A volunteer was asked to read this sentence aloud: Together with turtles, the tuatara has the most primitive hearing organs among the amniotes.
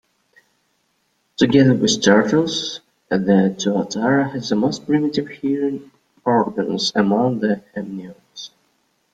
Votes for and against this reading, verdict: 2, 3, rejected